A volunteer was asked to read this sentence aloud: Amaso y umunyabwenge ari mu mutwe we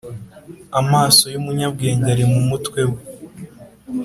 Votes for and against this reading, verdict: 2, 0, accepted